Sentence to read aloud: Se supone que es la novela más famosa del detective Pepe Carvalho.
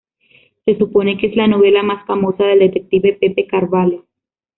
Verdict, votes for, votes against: rejected, 1, 2